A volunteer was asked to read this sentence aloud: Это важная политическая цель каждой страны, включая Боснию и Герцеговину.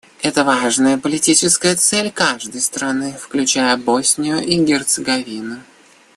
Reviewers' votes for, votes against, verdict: 2, 0, accepted